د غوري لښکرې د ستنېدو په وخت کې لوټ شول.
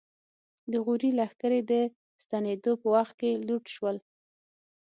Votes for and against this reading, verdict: 6, 0, accepted